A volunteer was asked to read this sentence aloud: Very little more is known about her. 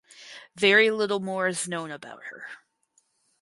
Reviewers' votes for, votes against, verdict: 4, 0, accepted